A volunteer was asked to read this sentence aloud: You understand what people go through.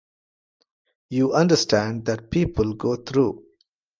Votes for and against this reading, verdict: 1, 2, rejected